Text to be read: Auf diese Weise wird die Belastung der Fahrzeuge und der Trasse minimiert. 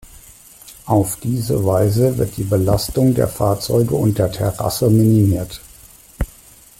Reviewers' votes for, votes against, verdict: 0, 2, rejected